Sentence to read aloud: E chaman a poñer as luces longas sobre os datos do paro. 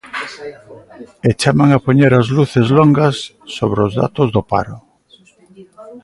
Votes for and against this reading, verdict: 0, 2, rejected